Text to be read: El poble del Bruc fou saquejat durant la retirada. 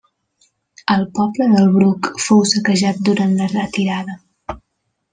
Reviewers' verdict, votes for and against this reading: accepted, 3, 0